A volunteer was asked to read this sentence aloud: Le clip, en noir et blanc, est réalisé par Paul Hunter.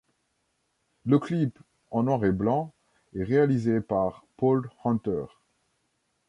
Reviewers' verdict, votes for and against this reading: accepted, 2, 0